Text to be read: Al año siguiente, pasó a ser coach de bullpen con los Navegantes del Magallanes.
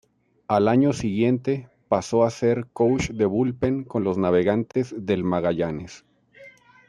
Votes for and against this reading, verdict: 2, 1, accepted